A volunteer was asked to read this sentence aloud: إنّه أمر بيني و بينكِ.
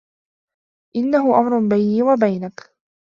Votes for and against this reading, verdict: 1, 2, rejected